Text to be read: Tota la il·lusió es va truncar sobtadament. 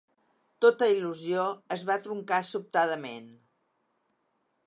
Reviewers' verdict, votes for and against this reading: rejected, 1, 2